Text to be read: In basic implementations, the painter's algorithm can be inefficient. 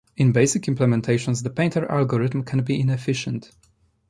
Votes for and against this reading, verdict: 1, 2, rejected